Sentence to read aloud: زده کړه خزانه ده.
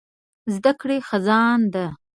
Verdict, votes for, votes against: rejected, 1, 2